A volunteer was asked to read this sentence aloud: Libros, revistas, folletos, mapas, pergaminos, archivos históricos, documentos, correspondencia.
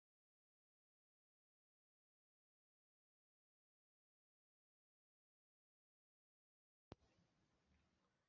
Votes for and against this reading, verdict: 0, 2, rejected